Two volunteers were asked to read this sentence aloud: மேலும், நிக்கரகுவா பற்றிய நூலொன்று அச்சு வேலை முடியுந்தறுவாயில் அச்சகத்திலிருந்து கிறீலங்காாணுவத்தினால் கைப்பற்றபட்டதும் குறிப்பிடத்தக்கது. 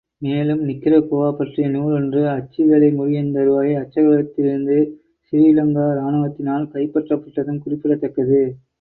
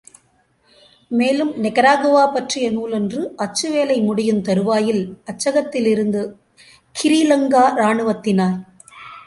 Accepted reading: first